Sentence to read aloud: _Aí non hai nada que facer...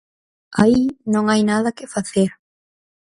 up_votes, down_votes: 4, 0